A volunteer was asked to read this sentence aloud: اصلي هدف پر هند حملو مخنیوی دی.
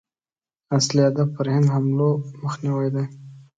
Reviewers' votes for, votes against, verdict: 3, 0, accepted